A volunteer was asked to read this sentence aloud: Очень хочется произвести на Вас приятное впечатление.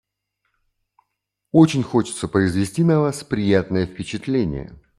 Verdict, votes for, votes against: accepted, 2, 0